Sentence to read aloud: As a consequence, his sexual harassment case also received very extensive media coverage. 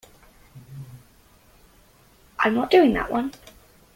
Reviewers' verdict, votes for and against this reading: rejected, 0, 2